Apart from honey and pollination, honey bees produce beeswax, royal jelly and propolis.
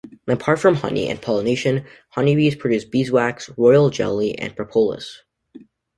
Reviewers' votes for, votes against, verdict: 2, 0, accepted